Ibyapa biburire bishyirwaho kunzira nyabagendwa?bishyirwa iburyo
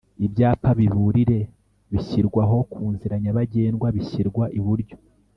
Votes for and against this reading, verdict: 3, 0, accepted